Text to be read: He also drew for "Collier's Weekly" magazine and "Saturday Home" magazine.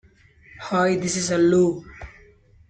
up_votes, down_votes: 0, 2